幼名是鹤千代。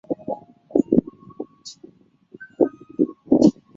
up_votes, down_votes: 0, 2